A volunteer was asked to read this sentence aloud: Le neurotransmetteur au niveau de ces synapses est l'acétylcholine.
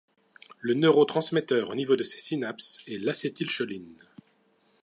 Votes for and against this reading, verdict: 2, 0, accepted